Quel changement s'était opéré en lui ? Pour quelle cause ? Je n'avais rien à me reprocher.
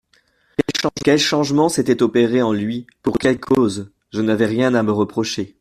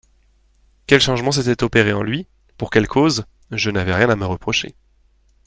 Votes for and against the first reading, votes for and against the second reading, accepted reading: 0, 2, 2, 0, second